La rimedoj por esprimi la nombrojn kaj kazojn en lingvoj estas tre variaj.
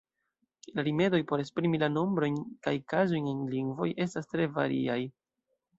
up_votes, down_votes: 2, 0